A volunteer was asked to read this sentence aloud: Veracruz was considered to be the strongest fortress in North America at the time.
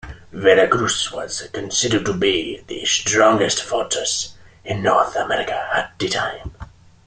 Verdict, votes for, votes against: accepted, 2, 0